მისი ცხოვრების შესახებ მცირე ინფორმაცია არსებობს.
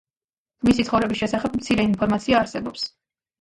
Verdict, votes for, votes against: rejected, 1, 2